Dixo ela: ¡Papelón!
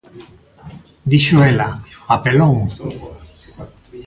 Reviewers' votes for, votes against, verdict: 2, 0, accepted